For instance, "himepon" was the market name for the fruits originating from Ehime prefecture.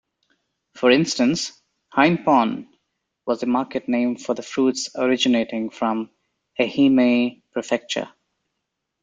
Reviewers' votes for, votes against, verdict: 2, 0, accepted